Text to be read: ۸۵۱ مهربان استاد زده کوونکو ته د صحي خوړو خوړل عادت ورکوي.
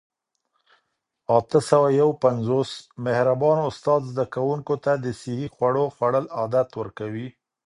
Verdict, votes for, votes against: rejected, 0, 2